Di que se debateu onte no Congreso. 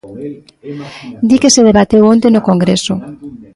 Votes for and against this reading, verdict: 0, 2, rejected